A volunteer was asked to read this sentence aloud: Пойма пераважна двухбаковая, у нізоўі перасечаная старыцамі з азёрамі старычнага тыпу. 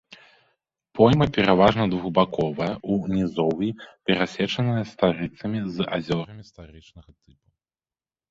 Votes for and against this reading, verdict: 2, 1, accepted